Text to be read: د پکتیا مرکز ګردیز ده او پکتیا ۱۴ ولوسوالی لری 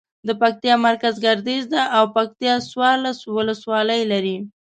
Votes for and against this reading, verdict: 0, 2, rejected